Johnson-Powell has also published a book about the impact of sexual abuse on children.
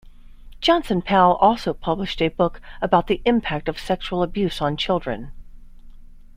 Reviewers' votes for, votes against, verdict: 0, 2, rejected